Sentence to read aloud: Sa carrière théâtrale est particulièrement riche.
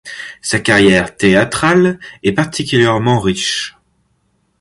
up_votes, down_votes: 2, 0